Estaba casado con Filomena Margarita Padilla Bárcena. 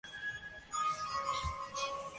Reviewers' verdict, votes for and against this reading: rejected, 0, 2